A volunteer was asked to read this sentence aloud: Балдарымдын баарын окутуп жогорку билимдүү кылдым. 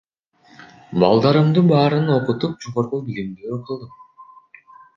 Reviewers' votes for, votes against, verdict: 0, 2, rejected